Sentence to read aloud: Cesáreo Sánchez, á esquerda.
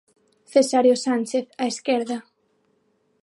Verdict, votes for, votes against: accepted, 6, 0